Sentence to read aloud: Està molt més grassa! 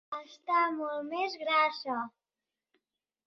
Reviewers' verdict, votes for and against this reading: accepted, 2, 0